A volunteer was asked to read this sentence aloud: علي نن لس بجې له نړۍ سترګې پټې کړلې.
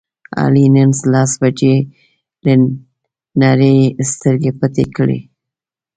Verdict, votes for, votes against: rejected, 0, 2